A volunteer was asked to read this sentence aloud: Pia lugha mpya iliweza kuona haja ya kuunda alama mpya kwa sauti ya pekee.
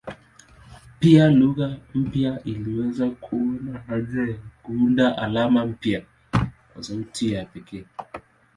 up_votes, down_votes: 2, 0